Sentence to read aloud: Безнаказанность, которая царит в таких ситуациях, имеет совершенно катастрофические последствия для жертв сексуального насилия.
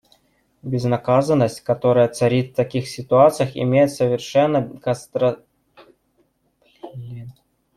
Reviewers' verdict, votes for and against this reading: rejected, 0, 2